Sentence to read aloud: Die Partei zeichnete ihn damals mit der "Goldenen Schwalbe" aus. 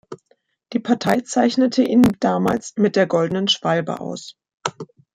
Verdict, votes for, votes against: accepted, 2, 0